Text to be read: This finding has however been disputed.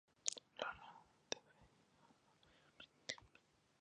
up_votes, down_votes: 0, 2